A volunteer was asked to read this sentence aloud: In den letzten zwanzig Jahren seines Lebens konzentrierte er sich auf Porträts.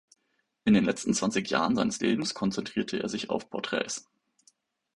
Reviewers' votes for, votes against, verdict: 2, 0, accepted